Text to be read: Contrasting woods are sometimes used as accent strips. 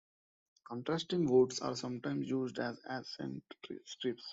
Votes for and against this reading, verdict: 0, 2, rejected